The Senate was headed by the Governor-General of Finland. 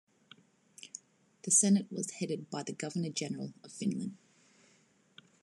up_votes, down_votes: 2, 0